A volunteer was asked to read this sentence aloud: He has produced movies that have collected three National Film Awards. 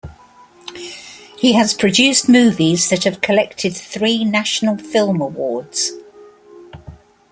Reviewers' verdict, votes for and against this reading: accepted, 4, 0